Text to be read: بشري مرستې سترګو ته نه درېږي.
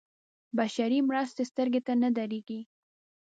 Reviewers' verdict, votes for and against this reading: accepted, 2, 0